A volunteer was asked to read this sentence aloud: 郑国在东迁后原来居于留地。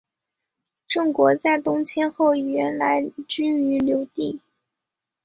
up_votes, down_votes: 2, 0